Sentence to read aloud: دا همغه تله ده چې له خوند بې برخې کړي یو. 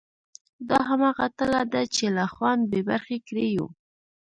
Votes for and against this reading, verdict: 2, 0, accepted